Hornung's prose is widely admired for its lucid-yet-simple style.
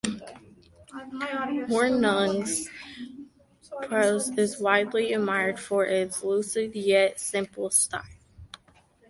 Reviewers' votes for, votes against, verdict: 1, 2, rejected